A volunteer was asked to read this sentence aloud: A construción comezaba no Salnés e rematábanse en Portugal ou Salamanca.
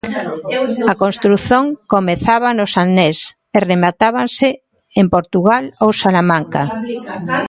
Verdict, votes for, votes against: rejected, 0, 2